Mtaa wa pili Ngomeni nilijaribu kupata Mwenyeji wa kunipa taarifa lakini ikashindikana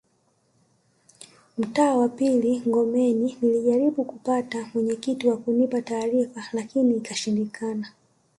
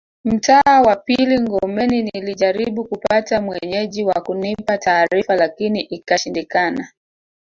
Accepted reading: second